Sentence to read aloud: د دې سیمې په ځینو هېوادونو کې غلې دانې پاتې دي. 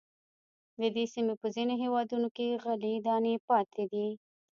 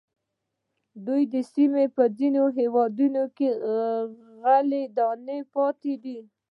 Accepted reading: second